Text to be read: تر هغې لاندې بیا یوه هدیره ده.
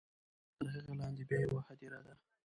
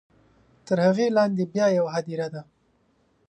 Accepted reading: second